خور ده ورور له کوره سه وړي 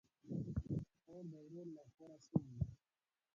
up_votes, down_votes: 1, 2